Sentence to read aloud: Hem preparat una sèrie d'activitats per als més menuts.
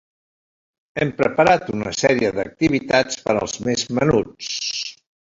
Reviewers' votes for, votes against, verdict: 1, 2, rejected